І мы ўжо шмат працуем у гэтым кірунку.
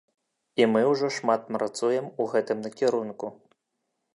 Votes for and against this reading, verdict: 1, 2, rejected